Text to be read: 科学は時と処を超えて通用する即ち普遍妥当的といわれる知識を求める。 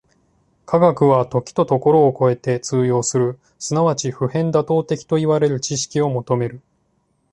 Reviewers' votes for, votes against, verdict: 2, 0, accepted